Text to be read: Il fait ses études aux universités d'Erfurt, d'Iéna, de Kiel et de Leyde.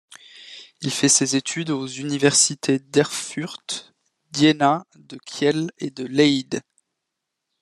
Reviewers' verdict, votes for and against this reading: accepted, 2, 0